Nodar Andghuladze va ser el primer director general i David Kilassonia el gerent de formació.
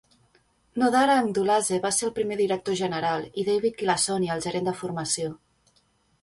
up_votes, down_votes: 2, 0